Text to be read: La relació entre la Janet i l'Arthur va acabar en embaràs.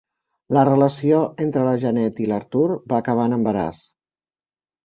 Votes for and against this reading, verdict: 1, 2, rejected